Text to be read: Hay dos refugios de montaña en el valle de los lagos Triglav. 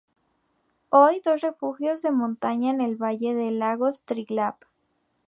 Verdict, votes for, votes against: accepted, 2, 0